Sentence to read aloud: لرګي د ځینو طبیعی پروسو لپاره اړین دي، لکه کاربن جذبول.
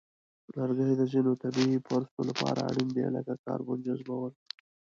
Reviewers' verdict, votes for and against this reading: accepted, 2, 1